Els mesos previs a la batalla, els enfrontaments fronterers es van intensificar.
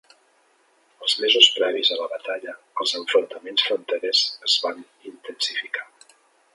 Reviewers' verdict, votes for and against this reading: accepted, 3, 1